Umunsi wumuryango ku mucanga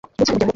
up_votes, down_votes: 0, 2